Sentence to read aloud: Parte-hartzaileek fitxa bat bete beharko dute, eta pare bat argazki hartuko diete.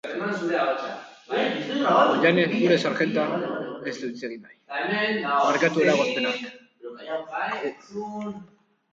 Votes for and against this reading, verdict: 0, 2, rejected